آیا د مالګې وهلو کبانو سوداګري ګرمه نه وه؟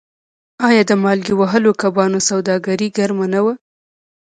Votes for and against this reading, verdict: 1, 2, rejected